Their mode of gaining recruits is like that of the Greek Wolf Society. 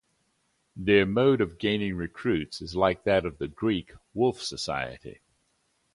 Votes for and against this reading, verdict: 2, 0, accepted